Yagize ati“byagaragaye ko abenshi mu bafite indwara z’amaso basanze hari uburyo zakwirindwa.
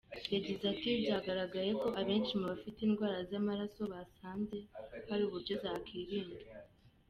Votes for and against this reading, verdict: 1, 2, rejected